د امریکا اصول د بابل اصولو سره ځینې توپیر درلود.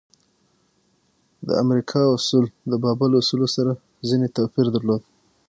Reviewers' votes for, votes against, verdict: 0, 6, rejected